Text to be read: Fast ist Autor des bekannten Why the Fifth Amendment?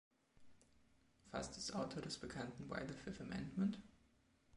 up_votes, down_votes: 2, 0